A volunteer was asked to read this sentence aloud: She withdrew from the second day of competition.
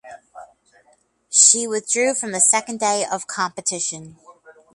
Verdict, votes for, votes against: accepted, 4, 0